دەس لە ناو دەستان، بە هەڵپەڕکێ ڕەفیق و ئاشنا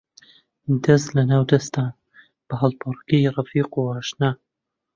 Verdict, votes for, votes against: rejected, 1, 2